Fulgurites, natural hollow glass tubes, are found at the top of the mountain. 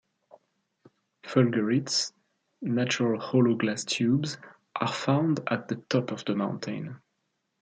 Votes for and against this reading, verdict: 1, 2, rejected